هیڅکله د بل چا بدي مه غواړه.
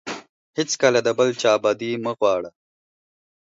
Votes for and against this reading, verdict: 4, 0, accepted